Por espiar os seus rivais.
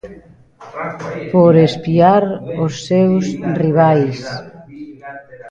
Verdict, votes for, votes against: rejected, 0, 2